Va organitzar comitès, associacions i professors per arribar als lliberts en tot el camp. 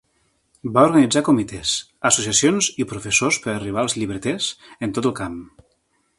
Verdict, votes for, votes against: rejected, 2, 3